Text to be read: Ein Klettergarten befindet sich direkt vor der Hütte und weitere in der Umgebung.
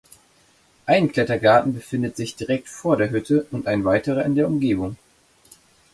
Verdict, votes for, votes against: rejected, 0, 2